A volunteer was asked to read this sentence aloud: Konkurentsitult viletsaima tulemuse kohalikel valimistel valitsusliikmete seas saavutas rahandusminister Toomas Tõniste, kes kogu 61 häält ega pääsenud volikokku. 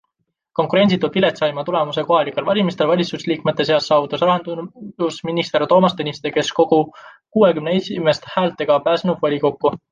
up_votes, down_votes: 0, 2